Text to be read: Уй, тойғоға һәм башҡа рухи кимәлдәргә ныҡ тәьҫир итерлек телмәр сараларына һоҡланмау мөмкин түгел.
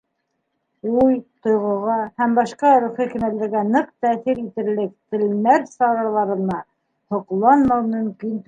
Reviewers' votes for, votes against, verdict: 1, 2, rejected